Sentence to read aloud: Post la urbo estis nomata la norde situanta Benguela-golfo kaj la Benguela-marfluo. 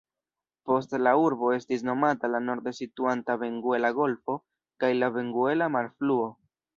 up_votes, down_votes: 0, 2